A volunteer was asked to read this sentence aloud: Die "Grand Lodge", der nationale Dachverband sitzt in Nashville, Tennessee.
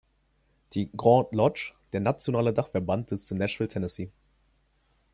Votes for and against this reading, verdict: 0, 2, rejected